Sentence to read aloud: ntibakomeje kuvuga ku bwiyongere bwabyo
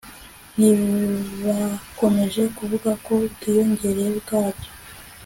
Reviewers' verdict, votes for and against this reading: accepted, 2, 0